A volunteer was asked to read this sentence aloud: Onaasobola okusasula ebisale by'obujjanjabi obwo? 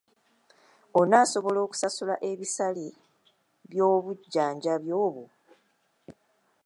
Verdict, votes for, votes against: accepted, 2, 0